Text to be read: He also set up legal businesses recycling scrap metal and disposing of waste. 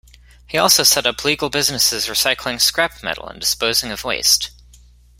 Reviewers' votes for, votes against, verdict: 2, 0, accepted